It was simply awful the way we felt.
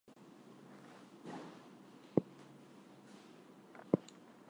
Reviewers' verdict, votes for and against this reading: rejected, 0, 4